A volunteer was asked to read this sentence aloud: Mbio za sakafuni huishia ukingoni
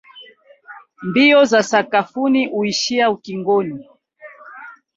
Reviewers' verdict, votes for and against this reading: accepted, 4, 0